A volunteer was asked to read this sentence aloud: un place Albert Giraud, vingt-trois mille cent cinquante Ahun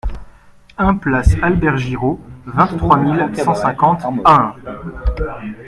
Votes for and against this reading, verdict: 0, 2, rejected